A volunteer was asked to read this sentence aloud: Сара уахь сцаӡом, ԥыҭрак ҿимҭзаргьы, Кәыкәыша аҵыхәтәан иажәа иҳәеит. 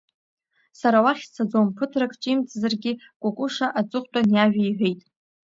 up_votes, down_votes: 2, 0